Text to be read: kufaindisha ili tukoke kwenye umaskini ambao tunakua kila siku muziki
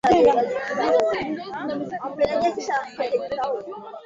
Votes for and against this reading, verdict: 1, 2, rejected